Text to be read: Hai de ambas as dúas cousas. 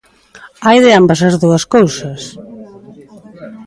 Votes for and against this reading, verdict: 2, 0, accepted